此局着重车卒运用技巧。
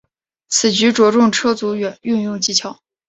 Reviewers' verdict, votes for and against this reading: rejected, 1, 2